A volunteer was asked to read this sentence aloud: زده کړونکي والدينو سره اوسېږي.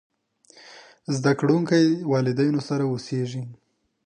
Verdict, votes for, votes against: rejected, 1, 2